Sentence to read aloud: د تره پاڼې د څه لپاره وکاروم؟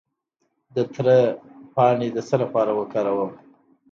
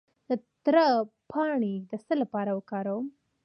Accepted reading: first